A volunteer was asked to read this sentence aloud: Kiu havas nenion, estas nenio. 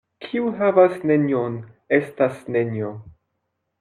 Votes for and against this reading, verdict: 1, 2, rejected